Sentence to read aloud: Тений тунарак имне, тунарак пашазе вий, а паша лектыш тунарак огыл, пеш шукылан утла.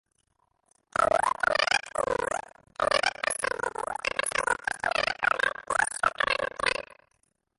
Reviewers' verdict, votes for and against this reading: rejected, 0, 2